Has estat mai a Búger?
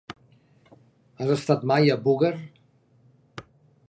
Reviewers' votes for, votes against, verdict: 2, 0, accepted